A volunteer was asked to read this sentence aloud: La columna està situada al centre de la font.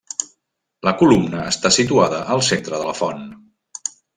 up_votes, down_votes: 3, 0